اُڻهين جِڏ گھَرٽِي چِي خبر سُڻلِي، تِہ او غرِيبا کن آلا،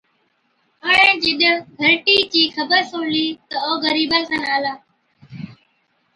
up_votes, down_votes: 2, 0